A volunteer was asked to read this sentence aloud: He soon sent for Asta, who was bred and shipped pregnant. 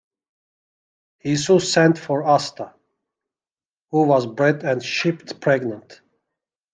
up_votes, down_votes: 2, 1